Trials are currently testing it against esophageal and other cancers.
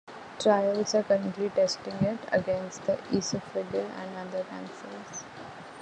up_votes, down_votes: 2, 1